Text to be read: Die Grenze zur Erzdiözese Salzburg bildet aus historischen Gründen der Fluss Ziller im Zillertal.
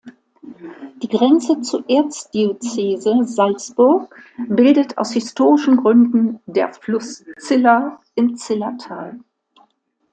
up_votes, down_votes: 1, 2